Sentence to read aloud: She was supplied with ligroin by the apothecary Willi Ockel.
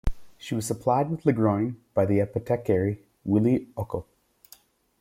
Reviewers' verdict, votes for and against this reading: rejected, 0, 2